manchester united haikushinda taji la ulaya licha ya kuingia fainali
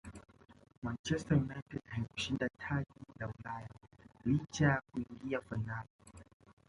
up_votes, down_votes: 0, 4